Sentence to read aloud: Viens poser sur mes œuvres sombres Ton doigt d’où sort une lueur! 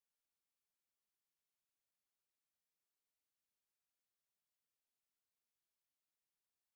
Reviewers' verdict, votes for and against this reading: rejected, 1, 2